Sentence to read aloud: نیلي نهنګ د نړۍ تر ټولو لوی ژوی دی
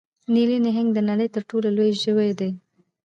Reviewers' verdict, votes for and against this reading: accepted, 2, 0